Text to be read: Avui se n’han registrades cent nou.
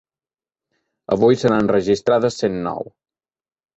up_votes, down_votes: 2, 0